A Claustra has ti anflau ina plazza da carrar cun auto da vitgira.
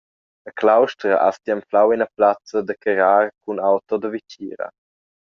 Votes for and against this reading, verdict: 1, 2, rejected